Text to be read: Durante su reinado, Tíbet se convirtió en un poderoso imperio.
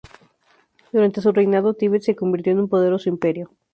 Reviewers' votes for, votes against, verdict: 4, 0, accepted